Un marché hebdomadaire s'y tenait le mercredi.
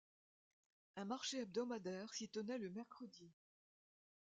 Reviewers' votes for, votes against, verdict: 2, 0, accepted